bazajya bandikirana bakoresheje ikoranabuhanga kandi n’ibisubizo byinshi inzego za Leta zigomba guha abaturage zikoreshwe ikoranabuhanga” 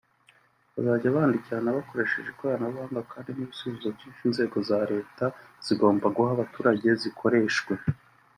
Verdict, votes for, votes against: rejected, 0, 2